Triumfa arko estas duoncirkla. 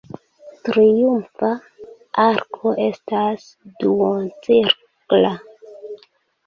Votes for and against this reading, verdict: 0, 2, rejected